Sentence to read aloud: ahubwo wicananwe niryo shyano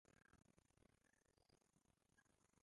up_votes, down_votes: 0, 2